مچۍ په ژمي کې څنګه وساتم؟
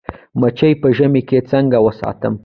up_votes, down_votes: 2, 0